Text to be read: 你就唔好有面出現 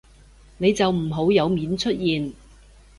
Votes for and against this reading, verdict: 2, 0, accepted